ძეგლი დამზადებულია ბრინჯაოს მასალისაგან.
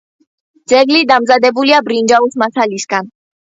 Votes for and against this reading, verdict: 2, 0, accepted